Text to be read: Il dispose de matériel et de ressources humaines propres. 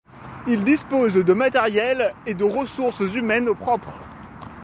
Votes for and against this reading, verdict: 2, 0, accepted